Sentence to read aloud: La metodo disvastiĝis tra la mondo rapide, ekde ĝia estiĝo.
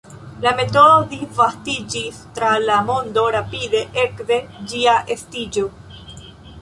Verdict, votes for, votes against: rejected, 1, 2